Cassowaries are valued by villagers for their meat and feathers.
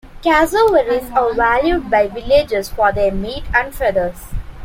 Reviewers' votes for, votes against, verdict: 2, 1, accepted